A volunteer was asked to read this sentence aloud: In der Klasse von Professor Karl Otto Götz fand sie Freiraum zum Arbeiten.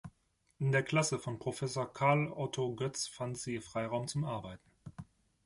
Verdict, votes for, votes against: accepted, 2, 0